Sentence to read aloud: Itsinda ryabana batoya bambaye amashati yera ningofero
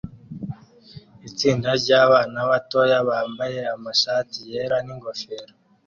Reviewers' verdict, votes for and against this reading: accepted, 2, 0